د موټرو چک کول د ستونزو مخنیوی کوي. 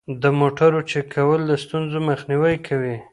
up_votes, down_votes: 0, 2